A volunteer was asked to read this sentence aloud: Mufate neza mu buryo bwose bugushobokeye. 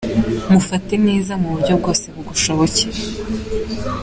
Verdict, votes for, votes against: accepted, 2, 1